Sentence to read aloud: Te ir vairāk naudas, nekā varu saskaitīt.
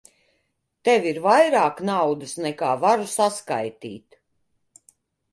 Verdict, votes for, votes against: rejected, 0, 2